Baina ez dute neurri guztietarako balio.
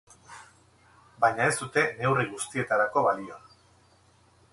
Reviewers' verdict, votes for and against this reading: accepted, 2, 0